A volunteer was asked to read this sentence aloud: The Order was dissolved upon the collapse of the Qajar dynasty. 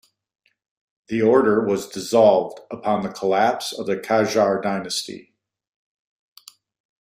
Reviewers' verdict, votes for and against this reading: accepted, 2, 0